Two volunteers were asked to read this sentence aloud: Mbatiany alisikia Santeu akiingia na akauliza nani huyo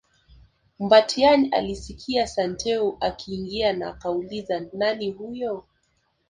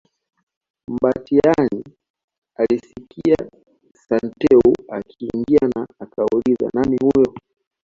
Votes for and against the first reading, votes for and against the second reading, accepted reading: 2, 0, 1, 2, first